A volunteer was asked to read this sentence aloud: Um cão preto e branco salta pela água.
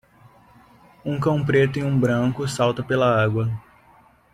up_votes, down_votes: 0, 2